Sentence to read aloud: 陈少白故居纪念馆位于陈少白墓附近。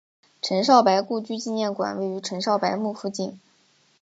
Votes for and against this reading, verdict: 2, 1, accepted